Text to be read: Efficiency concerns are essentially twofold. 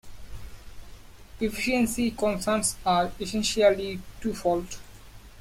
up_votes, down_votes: 2, 1